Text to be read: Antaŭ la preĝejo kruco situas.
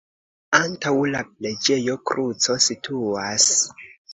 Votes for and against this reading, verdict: 2, 0, accepted